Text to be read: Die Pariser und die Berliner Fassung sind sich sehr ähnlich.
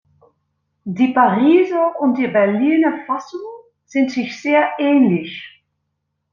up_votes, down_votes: 2, 0